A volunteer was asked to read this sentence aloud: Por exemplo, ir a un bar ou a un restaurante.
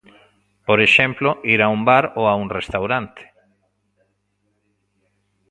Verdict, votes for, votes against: rejected, 0, 2